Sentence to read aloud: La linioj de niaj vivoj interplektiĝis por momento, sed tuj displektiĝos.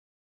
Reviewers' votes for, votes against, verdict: 0, 2, rejected